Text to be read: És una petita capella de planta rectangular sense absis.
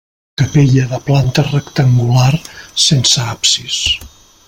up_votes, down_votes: 0, 2